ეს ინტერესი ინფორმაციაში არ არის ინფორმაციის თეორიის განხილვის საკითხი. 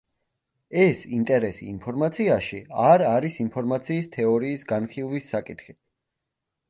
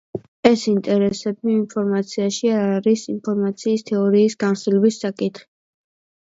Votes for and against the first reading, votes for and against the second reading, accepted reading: 2, 0, 0, 2, first